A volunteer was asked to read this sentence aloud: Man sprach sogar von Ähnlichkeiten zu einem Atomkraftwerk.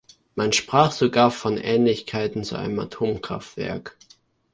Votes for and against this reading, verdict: 2, 0, accepted